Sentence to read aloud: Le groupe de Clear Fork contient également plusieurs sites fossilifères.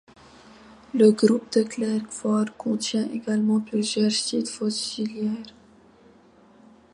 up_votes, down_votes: 0, 2